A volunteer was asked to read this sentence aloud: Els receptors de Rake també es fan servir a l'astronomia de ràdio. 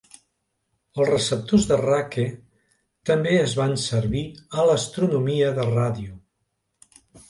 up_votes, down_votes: 1, 2